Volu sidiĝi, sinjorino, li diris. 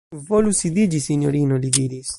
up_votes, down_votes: 1, 2